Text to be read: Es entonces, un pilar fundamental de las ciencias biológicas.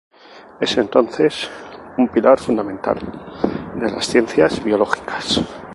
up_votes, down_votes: 2, 0